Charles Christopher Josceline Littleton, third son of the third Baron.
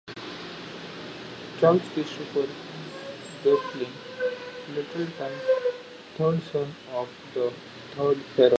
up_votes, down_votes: 0, 2